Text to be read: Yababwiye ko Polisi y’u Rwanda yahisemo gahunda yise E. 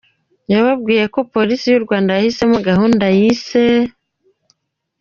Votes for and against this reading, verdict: 0, 2, rejected